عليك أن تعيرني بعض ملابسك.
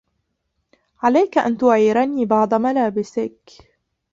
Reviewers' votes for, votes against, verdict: 0, 2, rejected